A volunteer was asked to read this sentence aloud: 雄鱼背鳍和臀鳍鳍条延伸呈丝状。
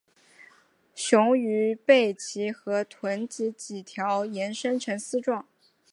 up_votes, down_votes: 2, 0